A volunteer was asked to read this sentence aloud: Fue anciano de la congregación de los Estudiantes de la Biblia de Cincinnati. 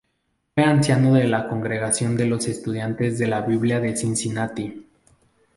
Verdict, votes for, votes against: accepted, 2, 0